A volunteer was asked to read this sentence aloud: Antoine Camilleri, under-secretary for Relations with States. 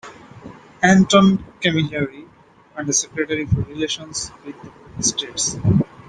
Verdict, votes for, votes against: accepted, 2, 0